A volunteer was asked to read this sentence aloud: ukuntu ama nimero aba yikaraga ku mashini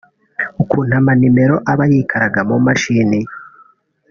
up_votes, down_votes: 1, 2